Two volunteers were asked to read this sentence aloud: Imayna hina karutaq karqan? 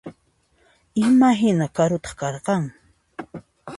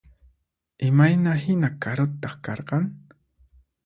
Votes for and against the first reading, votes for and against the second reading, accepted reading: 1, 2, 4, 0, second